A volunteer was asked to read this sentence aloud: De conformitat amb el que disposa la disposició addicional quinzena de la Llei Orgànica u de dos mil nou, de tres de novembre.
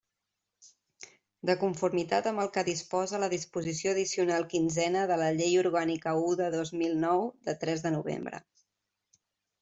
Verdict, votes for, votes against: accepted, 2, 0